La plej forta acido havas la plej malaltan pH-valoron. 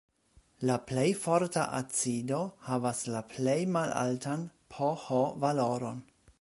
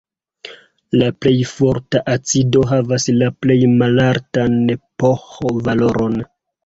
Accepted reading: first